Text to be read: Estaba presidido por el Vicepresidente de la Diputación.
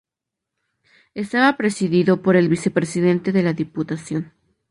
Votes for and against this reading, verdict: 4, 0, accepted